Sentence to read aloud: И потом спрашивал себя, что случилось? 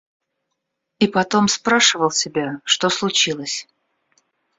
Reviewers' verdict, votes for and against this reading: accepted, 2, 0